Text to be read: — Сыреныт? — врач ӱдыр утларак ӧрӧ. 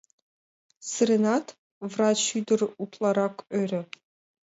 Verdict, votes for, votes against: rejected, 0, 2